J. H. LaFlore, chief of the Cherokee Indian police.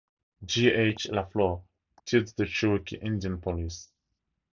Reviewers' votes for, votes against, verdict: 2, 2, rejected